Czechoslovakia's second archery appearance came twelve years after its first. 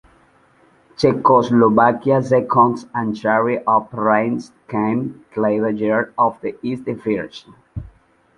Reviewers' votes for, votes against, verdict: 1, 2, rejected